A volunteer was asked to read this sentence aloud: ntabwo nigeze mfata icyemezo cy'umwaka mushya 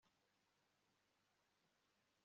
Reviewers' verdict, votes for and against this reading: rejected, 1, 2